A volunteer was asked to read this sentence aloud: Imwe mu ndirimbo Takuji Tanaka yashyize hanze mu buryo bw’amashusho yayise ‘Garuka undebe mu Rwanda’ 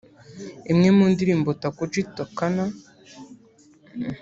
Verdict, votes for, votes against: rejected, 0, 2